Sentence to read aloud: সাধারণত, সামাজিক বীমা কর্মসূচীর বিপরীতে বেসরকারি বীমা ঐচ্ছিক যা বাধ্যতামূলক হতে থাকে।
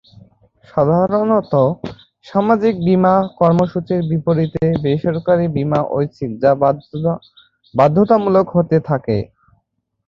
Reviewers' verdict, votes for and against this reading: rejected, 1, 2